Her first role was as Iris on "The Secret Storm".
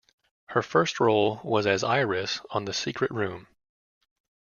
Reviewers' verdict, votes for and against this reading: rejected, 0, 2